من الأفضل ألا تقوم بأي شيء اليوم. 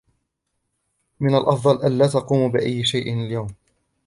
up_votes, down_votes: 0, 2